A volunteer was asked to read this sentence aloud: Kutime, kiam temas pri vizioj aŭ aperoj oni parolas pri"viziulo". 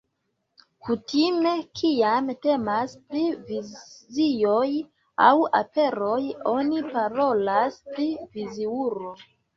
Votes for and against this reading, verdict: 0, 2, rejected